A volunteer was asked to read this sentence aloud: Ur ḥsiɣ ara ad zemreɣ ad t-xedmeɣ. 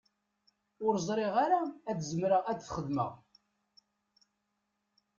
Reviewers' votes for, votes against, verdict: 0, 2, rejected